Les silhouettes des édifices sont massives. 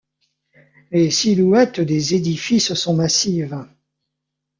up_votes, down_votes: 3, 0